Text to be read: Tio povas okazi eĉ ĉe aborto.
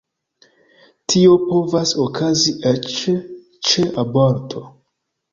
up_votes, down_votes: 2, 0